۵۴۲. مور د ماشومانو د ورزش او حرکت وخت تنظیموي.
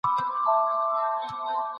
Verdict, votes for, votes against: rejected, 0, 2